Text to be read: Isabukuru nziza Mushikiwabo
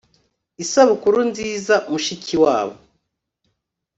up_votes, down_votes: 2, 0